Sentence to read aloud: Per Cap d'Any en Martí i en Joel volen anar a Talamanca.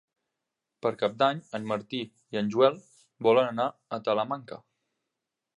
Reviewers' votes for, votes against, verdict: 3, 0, accepted